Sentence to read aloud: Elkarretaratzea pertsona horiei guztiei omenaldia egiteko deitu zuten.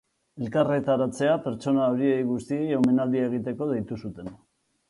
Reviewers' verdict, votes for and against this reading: accepted, 2, 0